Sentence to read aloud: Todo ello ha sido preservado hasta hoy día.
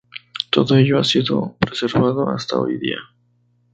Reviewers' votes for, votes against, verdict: 2, 0, accepted